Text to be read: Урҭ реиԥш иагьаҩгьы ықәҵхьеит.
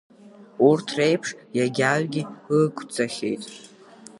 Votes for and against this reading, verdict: 1, 3, rejected